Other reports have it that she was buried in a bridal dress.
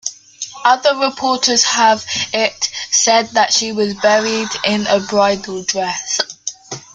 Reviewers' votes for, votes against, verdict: 1, 2, rejected